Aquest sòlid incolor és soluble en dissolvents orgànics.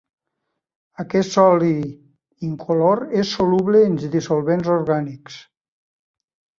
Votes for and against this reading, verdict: 0, 2, rejected